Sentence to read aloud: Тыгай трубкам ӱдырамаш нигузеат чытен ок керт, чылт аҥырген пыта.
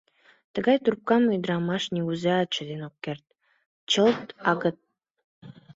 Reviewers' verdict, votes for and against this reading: rejected, 0, 2